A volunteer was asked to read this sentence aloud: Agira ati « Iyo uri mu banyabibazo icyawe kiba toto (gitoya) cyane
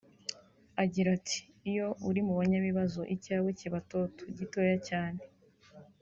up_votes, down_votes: 2, 0